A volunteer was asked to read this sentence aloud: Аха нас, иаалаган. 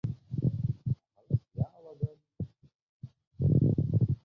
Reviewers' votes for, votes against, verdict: 1, 2, rejected